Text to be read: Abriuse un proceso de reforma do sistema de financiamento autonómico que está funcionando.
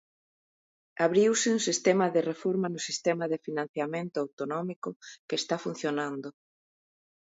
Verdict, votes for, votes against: rejected, 0, 2